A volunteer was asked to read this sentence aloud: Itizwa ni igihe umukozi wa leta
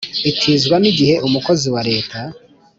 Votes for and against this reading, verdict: 2, 0, accepted